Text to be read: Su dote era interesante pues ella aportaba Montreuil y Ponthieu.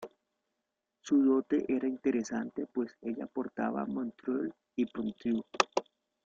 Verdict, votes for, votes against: accepted, 2, 0